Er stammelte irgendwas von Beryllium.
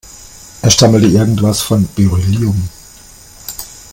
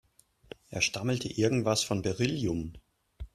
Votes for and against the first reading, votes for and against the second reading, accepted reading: 0, 2, 2, 0, second